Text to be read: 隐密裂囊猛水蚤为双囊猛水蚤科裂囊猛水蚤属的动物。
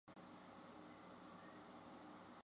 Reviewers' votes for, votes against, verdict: 1, 2, rejected